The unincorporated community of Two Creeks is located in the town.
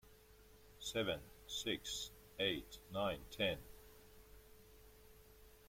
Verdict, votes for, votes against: rejected, 0, 2